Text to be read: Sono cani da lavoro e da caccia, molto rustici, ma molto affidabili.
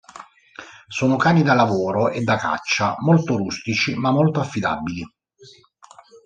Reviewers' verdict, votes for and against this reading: rejected, 1, 2